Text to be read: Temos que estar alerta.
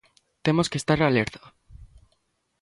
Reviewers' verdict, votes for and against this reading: accepted, 2, 0